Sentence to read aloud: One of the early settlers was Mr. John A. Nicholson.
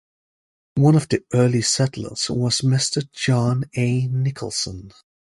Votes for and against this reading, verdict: 2, 0, accepted